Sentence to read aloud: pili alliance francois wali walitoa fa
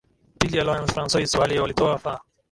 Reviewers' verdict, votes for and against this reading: rejected, 0, 2